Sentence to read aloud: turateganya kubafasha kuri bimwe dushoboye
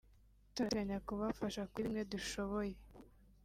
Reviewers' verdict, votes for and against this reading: accepted, 2, 0